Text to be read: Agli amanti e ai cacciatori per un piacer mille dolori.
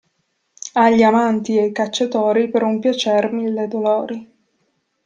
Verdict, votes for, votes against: rejected, 1, 2